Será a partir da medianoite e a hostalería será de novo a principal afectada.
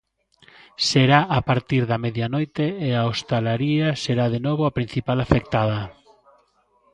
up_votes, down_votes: 0, 2